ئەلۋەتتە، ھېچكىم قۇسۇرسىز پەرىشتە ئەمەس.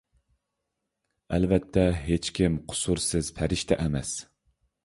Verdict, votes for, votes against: accepted, 3, 0